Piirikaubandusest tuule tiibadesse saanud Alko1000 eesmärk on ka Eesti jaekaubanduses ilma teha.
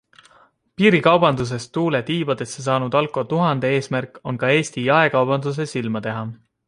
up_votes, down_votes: 0, 2